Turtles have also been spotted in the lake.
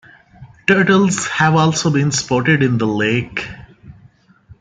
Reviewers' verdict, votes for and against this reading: rejected, 0, 2